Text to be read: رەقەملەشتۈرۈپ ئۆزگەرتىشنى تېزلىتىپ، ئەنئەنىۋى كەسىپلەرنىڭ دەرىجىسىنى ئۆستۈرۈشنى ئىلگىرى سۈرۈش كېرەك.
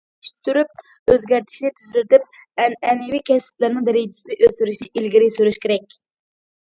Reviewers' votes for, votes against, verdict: 0, 2, rejected